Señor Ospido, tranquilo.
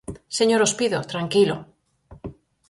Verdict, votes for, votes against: accepted, 4, 0